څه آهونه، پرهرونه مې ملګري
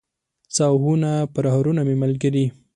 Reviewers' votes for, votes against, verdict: 2, 0, accepted